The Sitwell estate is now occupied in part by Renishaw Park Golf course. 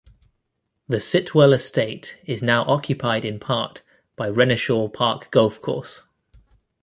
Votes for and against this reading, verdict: 2, 0, accepted